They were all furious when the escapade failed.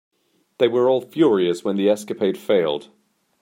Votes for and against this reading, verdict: 2, 0, accepted